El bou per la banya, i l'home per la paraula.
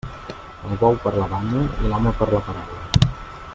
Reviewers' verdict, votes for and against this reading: rejected, 0, 2